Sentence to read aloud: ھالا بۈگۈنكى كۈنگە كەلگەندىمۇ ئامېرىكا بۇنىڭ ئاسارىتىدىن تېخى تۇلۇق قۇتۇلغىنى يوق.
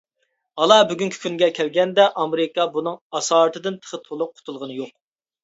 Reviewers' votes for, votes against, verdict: 1, 2, rejected